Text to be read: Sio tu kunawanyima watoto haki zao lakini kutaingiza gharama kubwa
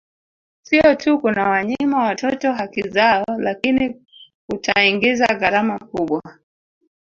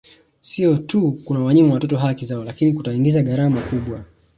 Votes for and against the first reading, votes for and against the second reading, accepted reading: 0, 2, 2, 0, second